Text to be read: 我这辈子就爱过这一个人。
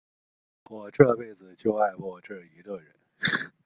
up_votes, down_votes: 2, 0